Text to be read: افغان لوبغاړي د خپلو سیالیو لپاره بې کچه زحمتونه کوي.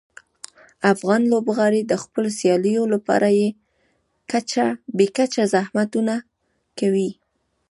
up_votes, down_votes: 2, 0